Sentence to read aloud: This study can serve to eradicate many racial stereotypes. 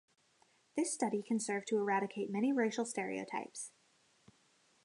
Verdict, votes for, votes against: accepted, 2, 0